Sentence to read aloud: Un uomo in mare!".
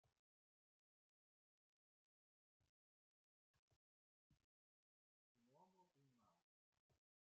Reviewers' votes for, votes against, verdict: 0, 2, rejected